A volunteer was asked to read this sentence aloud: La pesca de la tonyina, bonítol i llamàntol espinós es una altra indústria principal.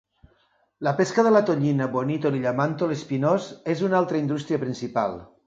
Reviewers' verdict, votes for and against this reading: accepted, 2, 0